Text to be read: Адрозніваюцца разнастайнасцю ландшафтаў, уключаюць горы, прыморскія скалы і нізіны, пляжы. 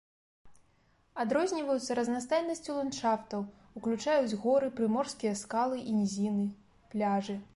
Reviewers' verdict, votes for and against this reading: accepted, 2, 0